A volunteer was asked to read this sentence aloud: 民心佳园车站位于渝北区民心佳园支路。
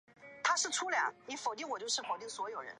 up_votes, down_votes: 0, 2